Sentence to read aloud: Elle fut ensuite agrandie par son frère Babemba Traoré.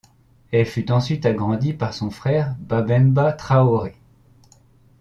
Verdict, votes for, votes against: accepted, 2, 0